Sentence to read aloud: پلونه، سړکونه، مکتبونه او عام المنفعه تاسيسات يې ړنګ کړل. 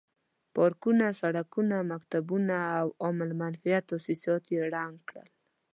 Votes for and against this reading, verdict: 1, 2, rejected